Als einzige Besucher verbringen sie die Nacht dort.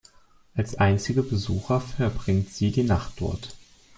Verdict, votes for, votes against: rejected, 0, 2